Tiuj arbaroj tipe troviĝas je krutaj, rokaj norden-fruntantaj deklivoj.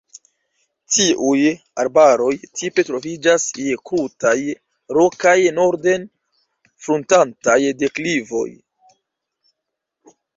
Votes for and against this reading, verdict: 1, 2, rejected